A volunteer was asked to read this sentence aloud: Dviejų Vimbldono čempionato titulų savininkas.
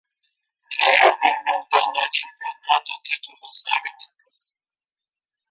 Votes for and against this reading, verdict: 0, 2, rejected